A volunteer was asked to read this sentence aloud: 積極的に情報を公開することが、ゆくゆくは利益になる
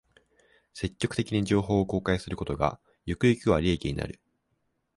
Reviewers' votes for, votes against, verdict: 2, 1, accepted